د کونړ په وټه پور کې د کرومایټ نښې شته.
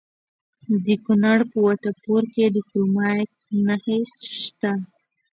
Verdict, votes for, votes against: rejected, 0, 2